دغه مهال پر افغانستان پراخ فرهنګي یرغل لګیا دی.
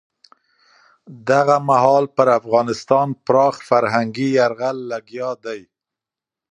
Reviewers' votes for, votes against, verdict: 2, 0, accepted